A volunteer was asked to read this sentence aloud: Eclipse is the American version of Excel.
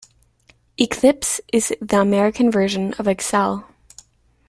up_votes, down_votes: 2, 0